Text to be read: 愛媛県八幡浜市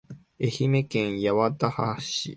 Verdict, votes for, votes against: accepted, 2, 1